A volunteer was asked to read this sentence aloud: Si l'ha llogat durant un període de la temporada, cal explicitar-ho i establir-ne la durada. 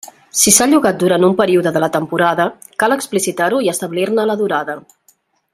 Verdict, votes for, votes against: rejected, 1, 2